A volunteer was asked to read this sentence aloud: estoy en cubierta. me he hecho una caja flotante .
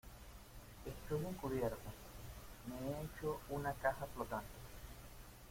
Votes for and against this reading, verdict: 0, 2, rejected